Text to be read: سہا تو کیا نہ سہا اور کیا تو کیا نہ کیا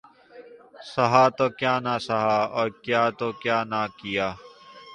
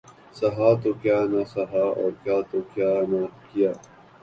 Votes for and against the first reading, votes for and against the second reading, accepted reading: 2, 0, 1, 2, first